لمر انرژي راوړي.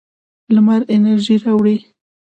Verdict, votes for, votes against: accepted, 2, 0